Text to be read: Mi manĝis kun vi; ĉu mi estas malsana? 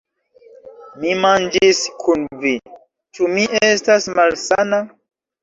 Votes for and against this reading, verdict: 0, 2, rejected